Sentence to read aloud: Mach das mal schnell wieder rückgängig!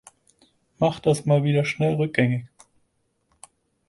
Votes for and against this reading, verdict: 2, 4, rejected